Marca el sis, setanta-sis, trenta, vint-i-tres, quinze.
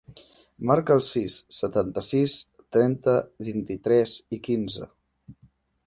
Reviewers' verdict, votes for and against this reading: rejected, 1, 2